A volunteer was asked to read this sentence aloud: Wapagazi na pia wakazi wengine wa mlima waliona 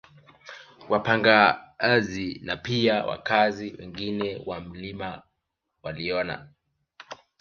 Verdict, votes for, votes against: accepted, 2, 1